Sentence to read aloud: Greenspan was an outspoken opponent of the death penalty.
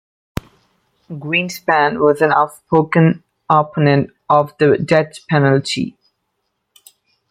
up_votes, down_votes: 2, 0